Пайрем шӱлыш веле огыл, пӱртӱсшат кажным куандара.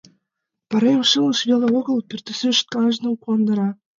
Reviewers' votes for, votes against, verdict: 0, 2, rejected